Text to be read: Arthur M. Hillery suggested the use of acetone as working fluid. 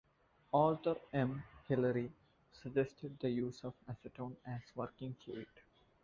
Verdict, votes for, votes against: accepted, 2, 0